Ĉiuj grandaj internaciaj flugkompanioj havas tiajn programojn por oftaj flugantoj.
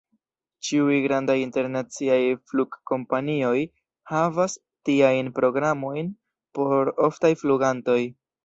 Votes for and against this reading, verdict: 2, 0, accepted